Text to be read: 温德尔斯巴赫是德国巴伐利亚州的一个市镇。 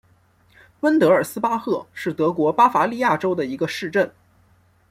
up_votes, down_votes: 2, 1